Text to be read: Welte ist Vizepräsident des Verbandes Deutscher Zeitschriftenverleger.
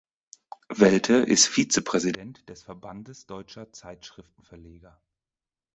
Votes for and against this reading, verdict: 2, 4, rejected